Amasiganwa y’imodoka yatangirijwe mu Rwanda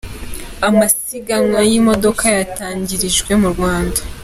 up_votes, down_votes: 4, 0